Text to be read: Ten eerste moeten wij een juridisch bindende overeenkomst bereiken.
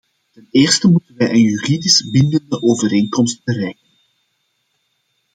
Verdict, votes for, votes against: rejected, 1, 2